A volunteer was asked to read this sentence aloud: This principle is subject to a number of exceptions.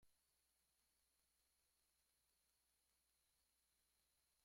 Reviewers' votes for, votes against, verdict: 1, 2, rejected